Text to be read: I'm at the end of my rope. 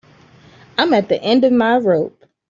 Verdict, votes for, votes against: accepted, 2, 0